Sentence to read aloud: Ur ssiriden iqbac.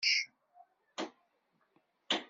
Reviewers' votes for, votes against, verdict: 1, 2, rejected